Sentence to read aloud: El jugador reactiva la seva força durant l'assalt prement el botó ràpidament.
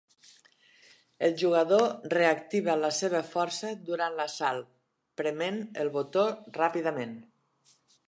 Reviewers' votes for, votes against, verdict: 4, 0, accepted